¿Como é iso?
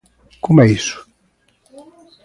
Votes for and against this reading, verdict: 2, 0, accepted